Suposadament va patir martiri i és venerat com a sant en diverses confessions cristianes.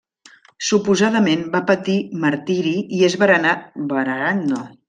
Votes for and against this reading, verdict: 0, 2, rejected